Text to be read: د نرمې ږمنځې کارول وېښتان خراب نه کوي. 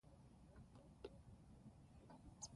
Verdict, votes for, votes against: accepted, 2, 1